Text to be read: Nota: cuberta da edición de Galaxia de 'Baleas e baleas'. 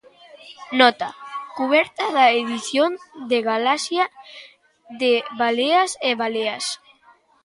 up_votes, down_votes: 2, 0